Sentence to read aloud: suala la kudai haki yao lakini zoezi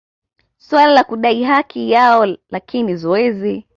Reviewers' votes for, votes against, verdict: 2, 0, accepted